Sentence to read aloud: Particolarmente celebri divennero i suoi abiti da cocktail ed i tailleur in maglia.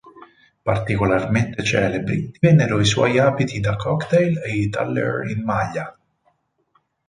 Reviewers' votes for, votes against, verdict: 0, 4, rejected